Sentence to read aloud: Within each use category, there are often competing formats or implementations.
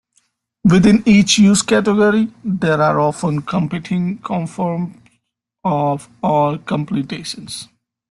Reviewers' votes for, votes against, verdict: 0, 2, rejected